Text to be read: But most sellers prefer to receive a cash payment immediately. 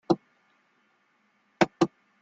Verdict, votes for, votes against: rejected, 0, 2